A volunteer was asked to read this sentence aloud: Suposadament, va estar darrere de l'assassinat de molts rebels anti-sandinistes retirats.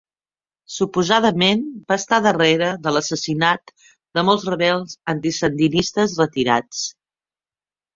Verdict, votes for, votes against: accepted, 3, 0